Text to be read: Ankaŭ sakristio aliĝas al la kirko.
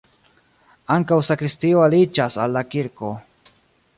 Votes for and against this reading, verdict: 0, 2, rejected